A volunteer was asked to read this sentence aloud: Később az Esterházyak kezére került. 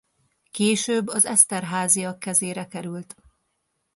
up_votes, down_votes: 2, 0